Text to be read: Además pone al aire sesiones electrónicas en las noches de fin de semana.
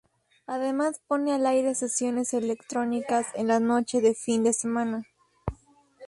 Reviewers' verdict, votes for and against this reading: rejected, 2, 2